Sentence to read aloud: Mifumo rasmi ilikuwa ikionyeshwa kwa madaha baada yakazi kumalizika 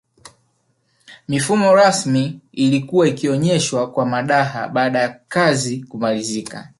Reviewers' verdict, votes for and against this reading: accepted, 2, 0